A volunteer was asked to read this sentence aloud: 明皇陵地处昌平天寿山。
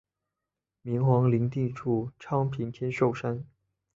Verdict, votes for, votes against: accepted, 2, 0